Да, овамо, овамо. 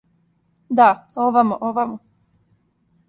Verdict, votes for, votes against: accepted, 2, 0